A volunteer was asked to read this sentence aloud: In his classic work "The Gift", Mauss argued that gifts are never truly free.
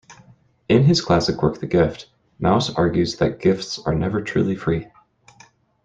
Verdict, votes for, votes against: rejected, 0, 2